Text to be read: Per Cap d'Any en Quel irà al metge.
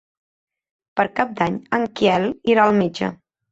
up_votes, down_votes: 2, 1